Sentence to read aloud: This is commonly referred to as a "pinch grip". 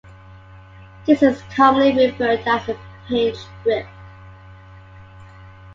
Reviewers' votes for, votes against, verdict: 2, 0, accepted